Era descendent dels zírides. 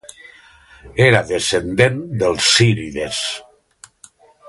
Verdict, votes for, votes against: rejected, 1, 2